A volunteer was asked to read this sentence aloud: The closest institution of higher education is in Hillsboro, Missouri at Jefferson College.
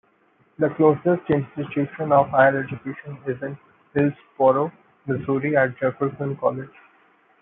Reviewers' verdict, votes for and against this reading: rejected, 0, 2